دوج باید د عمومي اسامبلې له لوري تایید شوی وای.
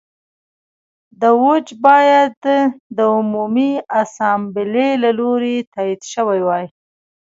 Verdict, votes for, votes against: rejected, 1, 2